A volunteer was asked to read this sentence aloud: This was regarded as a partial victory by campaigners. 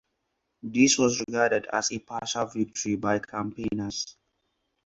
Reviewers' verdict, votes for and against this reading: accepted, 4, 2